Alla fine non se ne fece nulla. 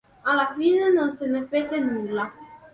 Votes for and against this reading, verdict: 2, 0, accepted